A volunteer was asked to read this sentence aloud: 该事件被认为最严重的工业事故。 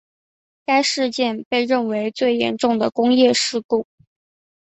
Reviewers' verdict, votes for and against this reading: accepted, 3, 0